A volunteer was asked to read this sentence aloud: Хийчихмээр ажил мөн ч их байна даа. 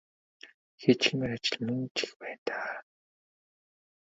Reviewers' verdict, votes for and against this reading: rejected, 1, 2